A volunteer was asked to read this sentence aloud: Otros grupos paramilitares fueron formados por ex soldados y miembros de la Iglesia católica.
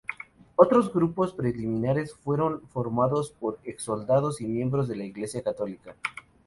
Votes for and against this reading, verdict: 0, 2, rejected